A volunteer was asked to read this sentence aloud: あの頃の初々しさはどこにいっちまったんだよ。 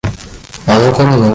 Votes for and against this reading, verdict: 0, 2, rejected